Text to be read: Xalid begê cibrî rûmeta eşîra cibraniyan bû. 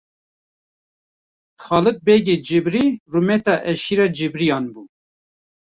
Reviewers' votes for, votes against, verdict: 1, 2, rejected